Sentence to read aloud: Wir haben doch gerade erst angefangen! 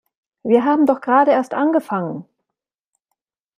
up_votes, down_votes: 2, 0